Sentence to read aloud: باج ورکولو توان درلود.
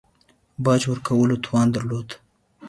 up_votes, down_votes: 4, 0